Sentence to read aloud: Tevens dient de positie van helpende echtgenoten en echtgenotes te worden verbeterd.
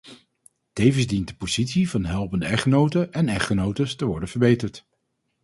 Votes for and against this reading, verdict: 2, 2, rejected